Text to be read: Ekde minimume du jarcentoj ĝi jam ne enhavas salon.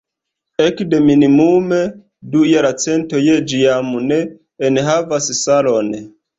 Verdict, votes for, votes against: accepted, 2, 1